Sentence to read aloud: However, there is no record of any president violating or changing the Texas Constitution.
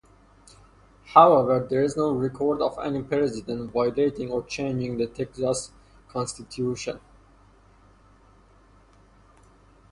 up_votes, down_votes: 2, 0